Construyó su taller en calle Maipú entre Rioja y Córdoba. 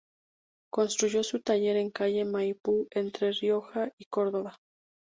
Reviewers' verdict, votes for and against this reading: accepted, 2, 0